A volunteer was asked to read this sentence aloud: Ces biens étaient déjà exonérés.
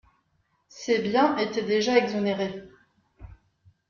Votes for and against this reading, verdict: 2, 0, accepted